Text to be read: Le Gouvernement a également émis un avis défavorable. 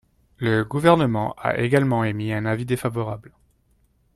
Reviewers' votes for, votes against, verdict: 2, 0, accepted